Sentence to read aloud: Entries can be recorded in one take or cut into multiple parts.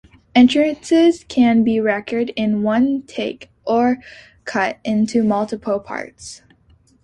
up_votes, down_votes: 0, 2